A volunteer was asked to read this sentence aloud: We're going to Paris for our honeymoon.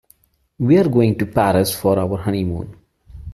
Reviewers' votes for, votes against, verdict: 2, 0, accepted